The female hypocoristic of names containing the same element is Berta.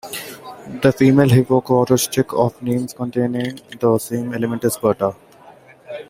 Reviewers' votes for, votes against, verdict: 0, 2, rejected